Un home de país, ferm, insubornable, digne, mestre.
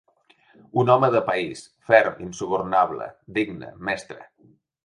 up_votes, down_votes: 2, 0